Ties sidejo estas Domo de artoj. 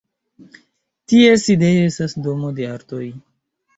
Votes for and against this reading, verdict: 2, 1, accepted